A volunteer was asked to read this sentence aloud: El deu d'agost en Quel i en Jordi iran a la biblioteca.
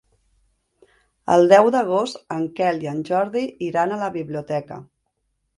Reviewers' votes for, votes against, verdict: 2, 0, accepted